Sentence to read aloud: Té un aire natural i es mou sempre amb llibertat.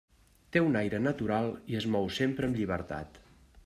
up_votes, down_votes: 3, 0